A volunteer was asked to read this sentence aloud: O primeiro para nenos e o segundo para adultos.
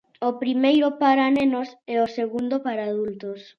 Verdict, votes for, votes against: accepted, 2, 0